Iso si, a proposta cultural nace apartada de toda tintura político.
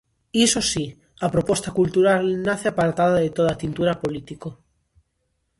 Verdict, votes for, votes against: accepted, 2, 0